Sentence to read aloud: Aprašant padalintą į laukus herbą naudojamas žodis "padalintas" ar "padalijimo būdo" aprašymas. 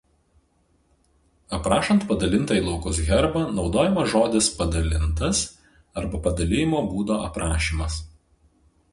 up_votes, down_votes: 0, 4